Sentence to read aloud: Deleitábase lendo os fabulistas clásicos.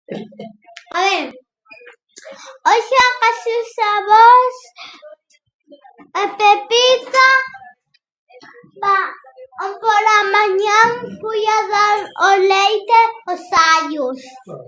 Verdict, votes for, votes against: rejected, 0, 2